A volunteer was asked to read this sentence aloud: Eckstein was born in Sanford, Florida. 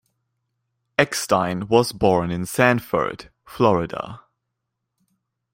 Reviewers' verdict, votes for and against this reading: accepted, 2, 0